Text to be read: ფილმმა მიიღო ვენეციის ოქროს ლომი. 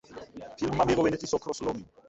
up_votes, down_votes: 0, 2